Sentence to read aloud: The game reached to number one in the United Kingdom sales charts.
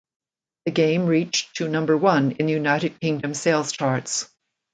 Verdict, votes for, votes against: accepted, 2, 0